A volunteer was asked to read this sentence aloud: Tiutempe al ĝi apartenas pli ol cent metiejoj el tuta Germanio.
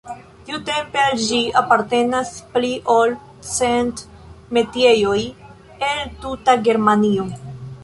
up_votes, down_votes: 1, 2